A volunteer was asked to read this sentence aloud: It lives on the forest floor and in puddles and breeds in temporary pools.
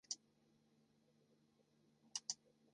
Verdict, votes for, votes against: rejected, 0, 4